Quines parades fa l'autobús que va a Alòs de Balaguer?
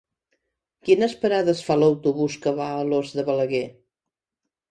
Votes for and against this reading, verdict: 2, 0, accepted